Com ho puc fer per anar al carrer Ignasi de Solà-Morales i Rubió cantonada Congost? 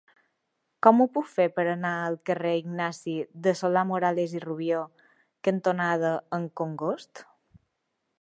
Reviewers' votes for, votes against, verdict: 0, 2, rejected